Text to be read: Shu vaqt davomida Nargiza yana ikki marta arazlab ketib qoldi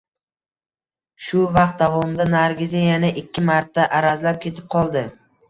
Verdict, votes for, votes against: accepted, 2, 0